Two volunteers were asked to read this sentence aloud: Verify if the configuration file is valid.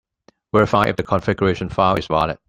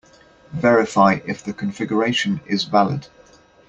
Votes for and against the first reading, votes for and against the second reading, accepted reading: 2, 1, 0, 2, first